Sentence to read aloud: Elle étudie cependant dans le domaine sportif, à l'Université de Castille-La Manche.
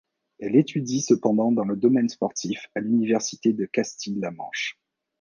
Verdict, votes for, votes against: accepted, 2, 0